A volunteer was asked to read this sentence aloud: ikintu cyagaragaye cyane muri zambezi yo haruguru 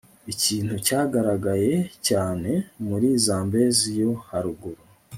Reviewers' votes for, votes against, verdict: 0, 2, rejected